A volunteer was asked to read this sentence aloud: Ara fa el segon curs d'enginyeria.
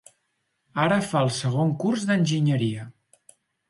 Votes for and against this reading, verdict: 4, 0, accepted